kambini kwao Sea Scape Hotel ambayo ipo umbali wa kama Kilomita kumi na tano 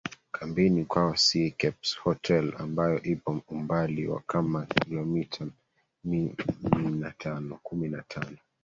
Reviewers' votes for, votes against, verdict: 1, 2, rejected